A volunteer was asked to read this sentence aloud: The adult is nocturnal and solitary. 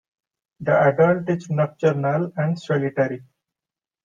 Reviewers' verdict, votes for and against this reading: accepted, 2, 1